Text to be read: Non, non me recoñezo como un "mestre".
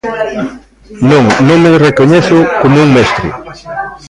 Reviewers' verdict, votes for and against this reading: rejected, 0, 3